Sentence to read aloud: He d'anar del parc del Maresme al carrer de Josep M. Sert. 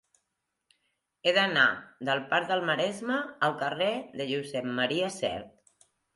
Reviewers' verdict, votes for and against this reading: accepted, 2, 1